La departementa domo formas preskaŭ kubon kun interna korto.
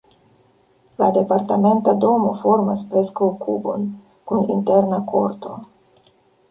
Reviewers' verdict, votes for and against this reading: rejected, 1, 2